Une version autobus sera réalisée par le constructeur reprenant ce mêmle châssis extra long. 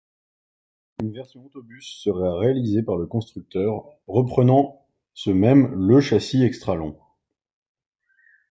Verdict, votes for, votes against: rejected, 0, 2